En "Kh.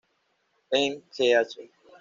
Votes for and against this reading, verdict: 1, 2, rejected